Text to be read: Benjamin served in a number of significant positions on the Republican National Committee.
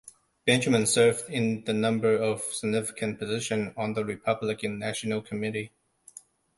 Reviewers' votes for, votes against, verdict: 1, 2, rejected